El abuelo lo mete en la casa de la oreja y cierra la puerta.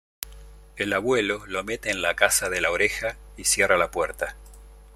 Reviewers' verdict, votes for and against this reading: accepted, 2, 0